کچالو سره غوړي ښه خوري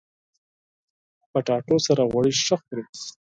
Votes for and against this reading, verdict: 4, 0, accepted